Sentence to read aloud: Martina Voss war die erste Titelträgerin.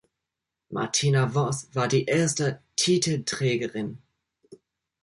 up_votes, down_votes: 2, 1